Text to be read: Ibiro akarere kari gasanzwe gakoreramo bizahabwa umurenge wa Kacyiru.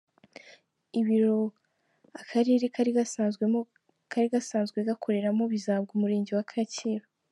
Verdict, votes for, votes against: rejected, 0, 2